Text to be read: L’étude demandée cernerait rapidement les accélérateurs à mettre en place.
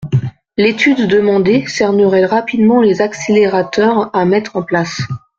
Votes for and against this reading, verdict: 2, 0, accepted